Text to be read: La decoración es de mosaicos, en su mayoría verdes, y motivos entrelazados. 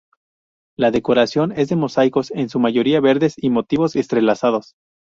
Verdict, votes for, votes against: rejected, 0, 2